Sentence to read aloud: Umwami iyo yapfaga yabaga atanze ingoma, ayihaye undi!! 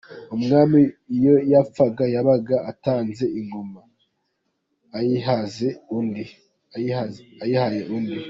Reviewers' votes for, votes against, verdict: 0, 2, rejected